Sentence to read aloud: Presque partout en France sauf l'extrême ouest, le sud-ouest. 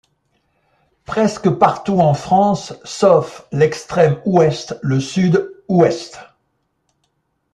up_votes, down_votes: 3, 1